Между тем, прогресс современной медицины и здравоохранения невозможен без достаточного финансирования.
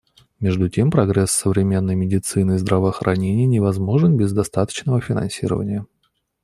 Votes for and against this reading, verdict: 2, 0, accepted